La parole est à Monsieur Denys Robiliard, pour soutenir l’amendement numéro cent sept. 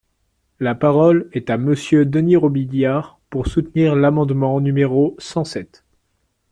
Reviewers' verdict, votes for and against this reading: accepted, 2, 0